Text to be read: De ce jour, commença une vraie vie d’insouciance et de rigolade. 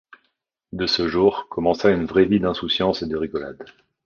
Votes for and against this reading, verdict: 2, 0, accepted